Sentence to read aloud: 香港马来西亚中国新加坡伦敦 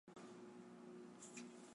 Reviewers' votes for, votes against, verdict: 0, 2, rejected